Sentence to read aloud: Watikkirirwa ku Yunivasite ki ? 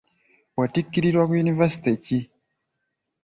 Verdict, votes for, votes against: rejected, 0, 2